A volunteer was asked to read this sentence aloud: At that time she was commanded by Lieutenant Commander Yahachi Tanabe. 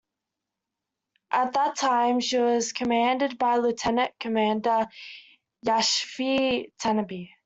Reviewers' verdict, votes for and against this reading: rejected, 0, 2